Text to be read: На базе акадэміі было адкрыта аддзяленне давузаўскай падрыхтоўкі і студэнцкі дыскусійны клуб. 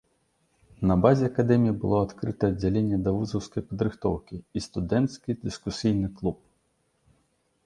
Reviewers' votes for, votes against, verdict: 2, 0, accepted